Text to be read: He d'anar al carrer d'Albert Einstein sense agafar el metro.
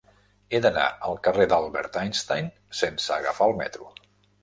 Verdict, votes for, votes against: accepted, 3, 0